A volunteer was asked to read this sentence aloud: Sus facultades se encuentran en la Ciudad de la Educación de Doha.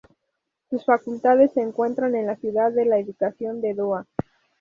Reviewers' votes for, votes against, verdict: 0, 2, rejected